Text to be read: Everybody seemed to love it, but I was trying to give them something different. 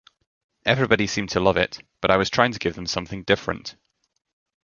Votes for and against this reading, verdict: 2, 0, accepted